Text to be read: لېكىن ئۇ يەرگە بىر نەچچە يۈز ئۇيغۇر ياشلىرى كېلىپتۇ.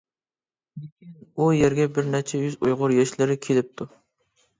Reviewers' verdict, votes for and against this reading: rejected, 0, 2